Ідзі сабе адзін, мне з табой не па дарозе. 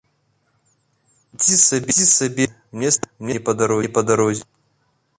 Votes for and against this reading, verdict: 0, 2, rejected